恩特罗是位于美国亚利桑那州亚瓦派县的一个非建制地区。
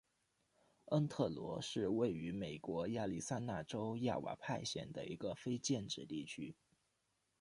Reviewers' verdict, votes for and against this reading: accepted, 2, 0